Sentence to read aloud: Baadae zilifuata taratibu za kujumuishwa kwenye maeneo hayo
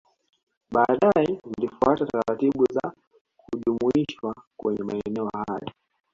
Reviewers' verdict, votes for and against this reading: rejected, 1, 2